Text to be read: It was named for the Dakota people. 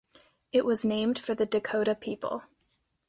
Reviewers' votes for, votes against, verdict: 3, 0, accepted